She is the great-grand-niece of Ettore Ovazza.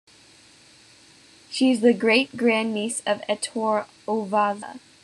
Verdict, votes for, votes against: accepted, 2, 0